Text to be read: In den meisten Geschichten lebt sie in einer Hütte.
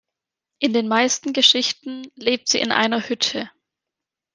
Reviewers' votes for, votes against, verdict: 2, 0, accepted